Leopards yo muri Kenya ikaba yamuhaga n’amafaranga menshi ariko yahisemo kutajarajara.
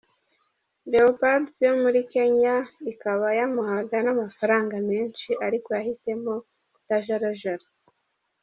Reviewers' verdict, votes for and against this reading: accepted, 2, 0